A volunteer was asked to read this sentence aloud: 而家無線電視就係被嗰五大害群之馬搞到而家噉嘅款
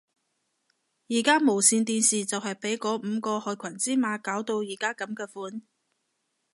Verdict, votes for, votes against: accepted, 2, 0